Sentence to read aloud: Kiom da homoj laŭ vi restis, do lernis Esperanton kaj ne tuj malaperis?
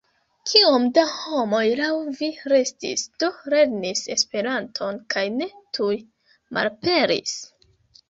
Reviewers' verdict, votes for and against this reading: accepted, 2, 1